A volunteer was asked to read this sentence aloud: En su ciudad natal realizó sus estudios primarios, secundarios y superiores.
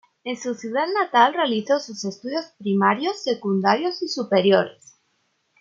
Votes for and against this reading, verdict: 2, 0, accepted